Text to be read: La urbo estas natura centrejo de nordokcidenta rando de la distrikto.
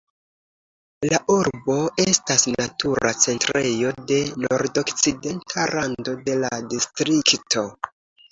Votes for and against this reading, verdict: 2, 0, accepted